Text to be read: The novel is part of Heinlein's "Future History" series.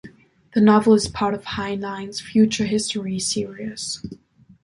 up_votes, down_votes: 2, 1